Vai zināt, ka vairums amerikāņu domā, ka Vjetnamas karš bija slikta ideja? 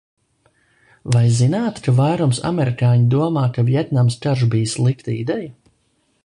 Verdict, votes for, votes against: accepted, 2, 0